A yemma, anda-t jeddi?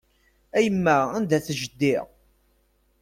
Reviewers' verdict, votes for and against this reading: accepted, 2, 0